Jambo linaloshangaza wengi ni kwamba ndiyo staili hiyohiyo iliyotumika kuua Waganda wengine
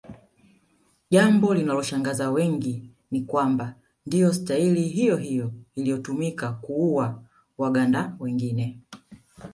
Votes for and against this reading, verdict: 1, 2, rejected